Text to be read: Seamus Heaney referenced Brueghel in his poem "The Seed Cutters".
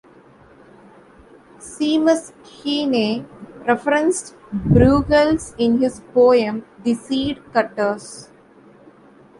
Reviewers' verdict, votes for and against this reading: rejected, 1, 2